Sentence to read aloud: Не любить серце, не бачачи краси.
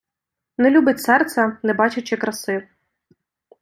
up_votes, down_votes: 2, 0